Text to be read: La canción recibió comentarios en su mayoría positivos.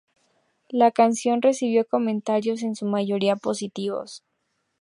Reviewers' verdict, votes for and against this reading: accepted, 2, 0